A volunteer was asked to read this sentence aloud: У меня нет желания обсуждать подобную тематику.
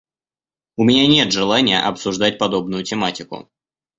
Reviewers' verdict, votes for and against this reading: accepted, 2, 0